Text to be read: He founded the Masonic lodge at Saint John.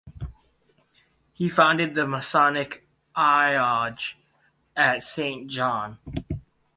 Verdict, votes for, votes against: rejected, 0, 4